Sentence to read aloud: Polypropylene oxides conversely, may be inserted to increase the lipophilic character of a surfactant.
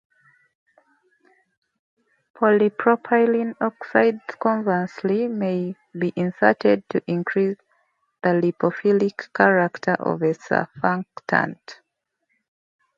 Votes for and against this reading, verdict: 0, 2, rejected